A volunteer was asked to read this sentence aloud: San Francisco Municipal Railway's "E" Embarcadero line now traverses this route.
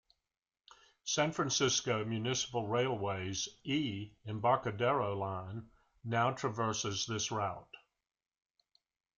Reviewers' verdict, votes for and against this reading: rejected, 1, 2